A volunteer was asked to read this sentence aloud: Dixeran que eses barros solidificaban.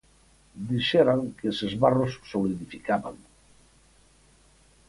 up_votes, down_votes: 4, 0